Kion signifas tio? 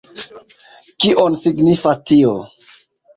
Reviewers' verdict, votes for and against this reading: accepted, 2, 0